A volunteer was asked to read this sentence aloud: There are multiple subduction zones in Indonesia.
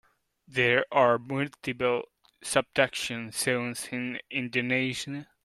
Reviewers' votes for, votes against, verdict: 1, 2, rejected